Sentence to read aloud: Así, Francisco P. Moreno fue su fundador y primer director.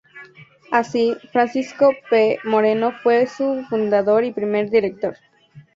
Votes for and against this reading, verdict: 4, 0, accepted